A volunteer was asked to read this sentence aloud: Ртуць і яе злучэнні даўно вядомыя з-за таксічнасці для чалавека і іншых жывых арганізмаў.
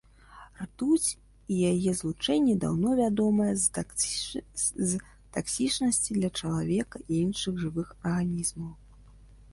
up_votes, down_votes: 0, 2